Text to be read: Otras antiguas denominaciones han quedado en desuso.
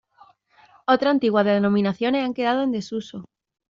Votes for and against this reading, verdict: 0, 2, rejected